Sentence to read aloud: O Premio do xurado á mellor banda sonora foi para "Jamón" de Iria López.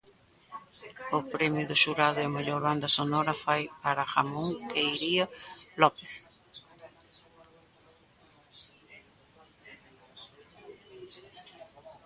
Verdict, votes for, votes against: rejected, 0, 2